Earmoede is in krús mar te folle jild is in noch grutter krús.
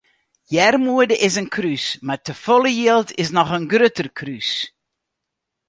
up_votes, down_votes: 0, 2